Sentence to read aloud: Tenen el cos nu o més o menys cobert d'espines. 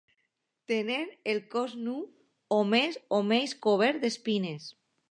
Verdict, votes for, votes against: accepted, 2, 0